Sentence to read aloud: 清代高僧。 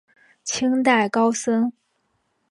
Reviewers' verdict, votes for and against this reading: accepted, 3, 0